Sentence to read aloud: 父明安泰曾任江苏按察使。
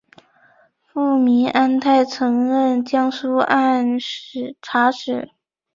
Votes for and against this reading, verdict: 3, 4, rejected